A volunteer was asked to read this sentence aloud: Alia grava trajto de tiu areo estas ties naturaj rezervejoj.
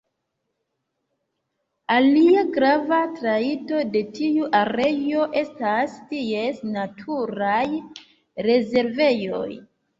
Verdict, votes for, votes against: rejected, 0, 2